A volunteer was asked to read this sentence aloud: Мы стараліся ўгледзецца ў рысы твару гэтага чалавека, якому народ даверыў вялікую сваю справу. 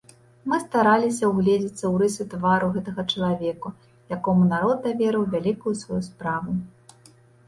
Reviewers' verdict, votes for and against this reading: rejected, 0, 2